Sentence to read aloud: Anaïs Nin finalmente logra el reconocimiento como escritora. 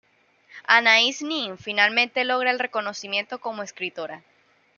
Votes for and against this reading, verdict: 2, 0, accepted